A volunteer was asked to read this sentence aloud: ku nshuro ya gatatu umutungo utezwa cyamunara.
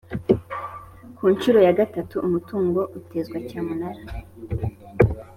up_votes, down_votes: 3, 0